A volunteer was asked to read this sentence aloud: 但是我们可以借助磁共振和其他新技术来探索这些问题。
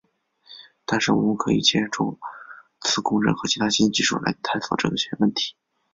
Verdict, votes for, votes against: rejected, 0, 2